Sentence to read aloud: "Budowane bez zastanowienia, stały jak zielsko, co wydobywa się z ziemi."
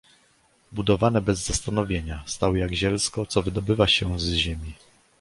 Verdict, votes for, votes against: accepted, 2, 0